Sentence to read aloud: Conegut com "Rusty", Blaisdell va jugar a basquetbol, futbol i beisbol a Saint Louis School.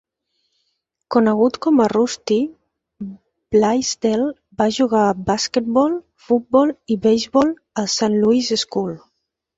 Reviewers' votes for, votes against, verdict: 0, 2, rejected